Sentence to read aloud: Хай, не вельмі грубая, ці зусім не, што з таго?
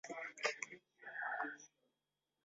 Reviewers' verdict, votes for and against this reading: rejected, 0, 2